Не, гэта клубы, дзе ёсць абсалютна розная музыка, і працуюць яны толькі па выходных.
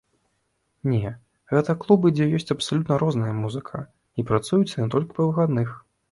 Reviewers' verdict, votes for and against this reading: rejected, 1, 2